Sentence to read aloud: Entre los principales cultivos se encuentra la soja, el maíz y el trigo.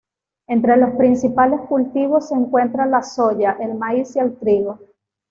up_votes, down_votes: 1, 2